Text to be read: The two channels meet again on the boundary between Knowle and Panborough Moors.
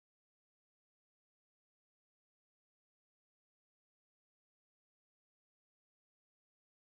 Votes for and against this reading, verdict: 0, 2, rejected